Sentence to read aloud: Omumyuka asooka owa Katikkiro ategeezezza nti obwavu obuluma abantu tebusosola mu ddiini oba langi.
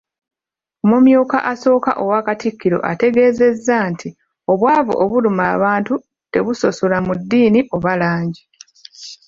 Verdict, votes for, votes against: rejected, 0, 2